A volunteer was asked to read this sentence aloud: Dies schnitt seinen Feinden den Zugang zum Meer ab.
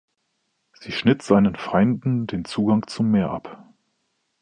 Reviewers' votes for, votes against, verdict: 1, 2, rejected